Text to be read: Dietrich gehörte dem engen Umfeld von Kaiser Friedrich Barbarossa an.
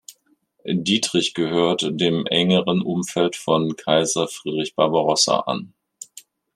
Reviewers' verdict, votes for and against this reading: rejected, 1, 2